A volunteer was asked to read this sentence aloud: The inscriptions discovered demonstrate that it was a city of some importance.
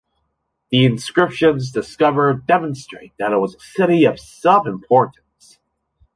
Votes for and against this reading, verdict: 2, 0, accepted